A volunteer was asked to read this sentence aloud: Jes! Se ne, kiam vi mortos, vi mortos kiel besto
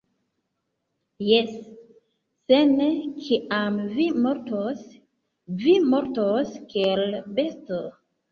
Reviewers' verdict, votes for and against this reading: accepted, 2, 0